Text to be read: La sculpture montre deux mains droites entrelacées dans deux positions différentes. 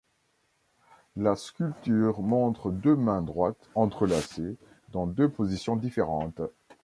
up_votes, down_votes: 2, 0